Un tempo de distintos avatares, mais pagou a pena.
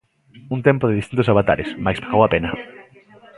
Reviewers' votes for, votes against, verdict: 0, 2, rejected